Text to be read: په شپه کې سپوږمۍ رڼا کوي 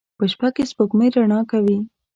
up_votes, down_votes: 2, 0